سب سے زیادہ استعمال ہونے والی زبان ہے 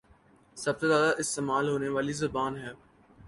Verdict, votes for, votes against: accepted, 2, 0